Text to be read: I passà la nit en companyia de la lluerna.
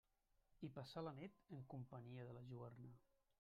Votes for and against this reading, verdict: 1, 2, rejected